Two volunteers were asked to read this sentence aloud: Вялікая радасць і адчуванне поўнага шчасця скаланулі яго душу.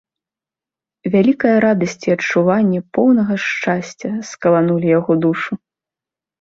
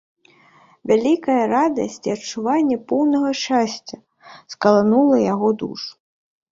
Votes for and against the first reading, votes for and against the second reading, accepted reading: 2, 0, 1, 2, first